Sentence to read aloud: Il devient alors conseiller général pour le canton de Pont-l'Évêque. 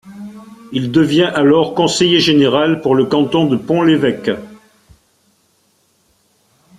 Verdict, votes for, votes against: accepted, 2, 0